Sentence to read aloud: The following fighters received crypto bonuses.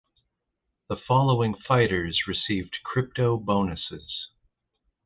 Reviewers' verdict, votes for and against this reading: accepted, 2, 0